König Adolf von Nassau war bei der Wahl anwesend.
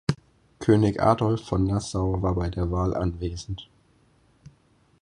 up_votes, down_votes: 4, 0